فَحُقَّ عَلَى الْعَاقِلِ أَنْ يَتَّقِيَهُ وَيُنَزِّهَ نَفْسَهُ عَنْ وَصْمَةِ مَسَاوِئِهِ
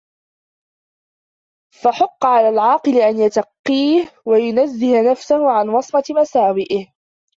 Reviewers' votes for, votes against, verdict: 1, 2, rejected